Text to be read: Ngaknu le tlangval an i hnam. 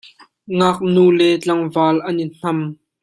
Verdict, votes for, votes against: accepted, 2, 0